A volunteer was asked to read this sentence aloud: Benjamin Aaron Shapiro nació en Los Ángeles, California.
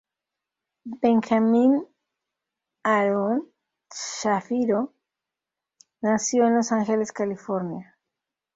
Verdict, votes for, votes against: accepted, 2, 0